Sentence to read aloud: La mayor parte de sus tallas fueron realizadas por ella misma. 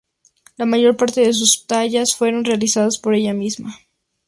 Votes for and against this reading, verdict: 6, 0, accepted